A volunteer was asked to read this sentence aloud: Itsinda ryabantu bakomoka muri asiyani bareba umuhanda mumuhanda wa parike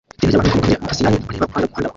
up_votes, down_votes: 0, 2